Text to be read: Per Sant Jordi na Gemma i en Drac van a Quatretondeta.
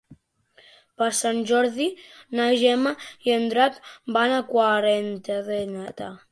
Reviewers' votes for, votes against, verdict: 0, 3, rejected